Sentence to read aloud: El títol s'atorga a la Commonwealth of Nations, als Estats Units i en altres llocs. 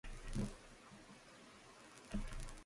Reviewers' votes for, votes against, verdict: 0, 2, rejected